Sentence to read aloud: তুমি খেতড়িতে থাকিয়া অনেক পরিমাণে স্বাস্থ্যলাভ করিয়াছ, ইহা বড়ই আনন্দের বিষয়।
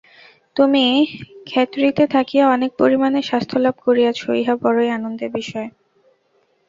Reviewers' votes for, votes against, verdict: 2, 2, rejected